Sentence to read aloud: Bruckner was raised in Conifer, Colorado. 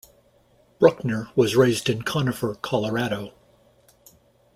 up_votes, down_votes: 2, 0